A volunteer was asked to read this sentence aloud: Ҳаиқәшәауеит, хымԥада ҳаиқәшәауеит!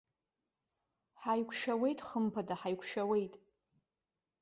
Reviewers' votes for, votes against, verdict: 0, 2, rejected